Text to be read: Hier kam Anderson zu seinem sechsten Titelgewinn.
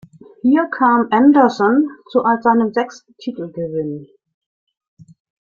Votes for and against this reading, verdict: 1, 2, rejected